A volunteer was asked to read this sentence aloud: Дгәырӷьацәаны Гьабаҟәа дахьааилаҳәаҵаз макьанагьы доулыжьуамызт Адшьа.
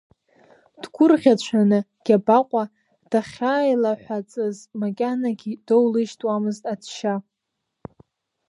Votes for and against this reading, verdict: 1, 2, rejected